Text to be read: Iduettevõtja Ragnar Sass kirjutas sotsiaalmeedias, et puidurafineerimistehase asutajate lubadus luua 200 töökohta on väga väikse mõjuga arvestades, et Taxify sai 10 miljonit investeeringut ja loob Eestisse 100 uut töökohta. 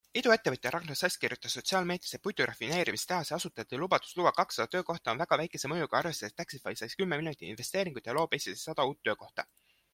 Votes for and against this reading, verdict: 0, 2, rejected